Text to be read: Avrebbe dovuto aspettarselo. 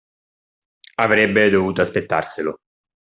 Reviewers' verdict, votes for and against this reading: accepted, 2, 0